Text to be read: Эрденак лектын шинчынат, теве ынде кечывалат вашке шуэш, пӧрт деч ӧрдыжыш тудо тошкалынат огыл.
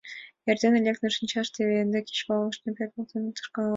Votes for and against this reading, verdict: 0, 2, rejected